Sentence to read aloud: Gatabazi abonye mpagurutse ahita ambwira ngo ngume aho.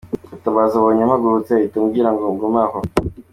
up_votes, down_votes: 2, 1